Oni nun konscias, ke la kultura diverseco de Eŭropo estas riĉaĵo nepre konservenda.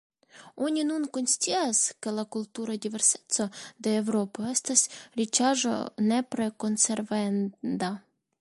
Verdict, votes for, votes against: rejected, 1, 2